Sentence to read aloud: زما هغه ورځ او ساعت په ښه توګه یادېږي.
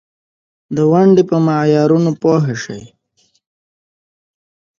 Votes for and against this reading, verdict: 1, 2, rejected